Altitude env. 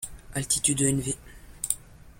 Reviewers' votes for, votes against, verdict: 0, 2, rejected